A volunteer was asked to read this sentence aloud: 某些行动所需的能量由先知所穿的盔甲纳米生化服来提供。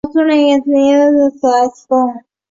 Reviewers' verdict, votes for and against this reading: rejected, 2, 4